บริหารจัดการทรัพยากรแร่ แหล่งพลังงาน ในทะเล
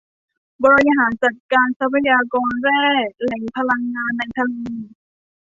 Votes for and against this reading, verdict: 2, 1, accepted